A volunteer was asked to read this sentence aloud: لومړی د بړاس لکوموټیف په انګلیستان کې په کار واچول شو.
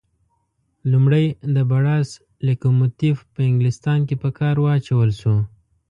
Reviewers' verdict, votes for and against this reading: rejected, 1, 2